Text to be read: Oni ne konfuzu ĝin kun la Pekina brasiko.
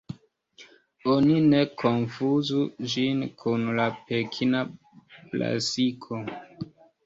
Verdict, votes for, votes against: accepted, 2, 0